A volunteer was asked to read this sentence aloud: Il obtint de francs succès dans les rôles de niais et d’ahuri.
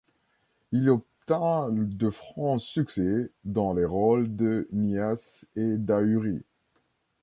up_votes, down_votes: 0, 2